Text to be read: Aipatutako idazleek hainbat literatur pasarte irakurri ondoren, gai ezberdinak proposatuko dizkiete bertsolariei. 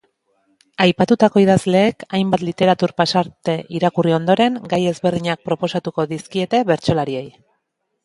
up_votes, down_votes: 1, 2